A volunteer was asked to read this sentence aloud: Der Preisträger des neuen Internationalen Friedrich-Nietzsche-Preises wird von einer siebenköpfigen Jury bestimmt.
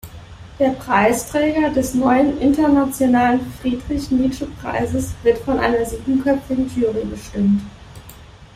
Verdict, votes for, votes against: accepted, 2, 0